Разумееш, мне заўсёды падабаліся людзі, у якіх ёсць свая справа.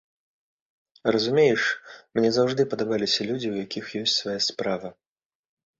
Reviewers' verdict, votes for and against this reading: rejected, 1, 3